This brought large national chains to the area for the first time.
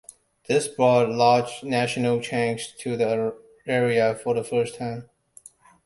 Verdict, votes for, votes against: rejected, 1, 2